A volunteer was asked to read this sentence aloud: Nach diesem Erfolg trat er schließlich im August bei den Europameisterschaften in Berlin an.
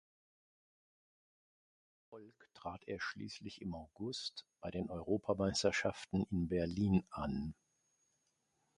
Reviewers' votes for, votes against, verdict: 0, 2, rejected